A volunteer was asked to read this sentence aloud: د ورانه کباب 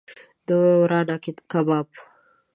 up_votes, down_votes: 1, 2